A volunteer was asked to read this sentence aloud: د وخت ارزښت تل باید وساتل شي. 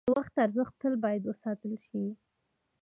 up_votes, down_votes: 2, 0